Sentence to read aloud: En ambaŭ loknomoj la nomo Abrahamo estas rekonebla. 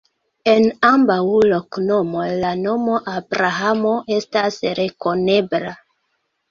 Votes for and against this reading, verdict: 0, 2, rejected